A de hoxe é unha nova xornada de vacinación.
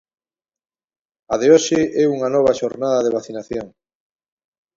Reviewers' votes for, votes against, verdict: 2, 0, accepted